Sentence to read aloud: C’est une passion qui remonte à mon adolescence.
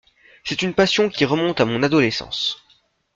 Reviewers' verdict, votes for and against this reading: accepted, 2, 0